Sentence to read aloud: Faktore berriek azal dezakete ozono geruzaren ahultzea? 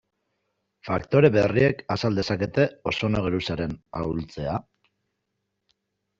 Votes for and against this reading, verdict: 2, 0, accepted